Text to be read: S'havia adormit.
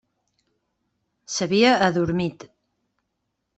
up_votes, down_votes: 3, 0